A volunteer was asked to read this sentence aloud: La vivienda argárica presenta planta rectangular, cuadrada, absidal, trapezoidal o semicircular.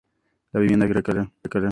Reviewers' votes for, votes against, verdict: 0, 2, rejected